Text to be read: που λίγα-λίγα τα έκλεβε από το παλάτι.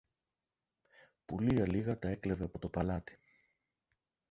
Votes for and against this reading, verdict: 1, 2, rejected